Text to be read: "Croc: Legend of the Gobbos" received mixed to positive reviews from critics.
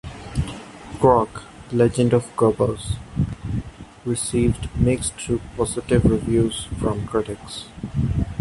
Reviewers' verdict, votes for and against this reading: rejected, 1, 2